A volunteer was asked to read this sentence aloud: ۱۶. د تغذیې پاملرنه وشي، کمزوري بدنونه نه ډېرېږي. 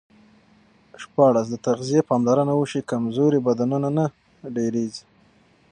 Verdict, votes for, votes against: rejected, 0, 2